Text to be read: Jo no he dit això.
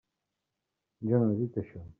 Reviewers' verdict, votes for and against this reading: accepted, 2, 0